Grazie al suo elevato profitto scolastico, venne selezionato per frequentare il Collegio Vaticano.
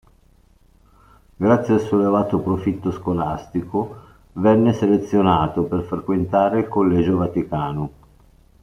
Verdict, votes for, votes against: accepted, 2, 0